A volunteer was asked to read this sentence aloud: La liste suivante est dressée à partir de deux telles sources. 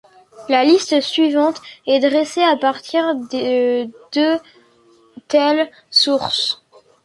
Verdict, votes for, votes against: rejected, 1, 2